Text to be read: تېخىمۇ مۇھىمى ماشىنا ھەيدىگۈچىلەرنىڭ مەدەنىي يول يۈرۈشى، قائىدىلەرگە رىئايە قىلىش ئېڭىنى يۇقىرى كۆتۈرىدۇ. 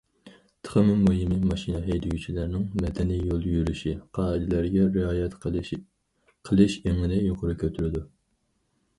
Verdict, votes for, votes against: rejected, 0, 4